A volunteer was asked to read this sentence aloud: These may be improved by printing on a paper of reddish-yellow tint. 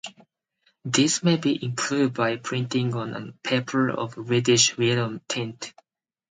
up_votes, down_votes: 0, 4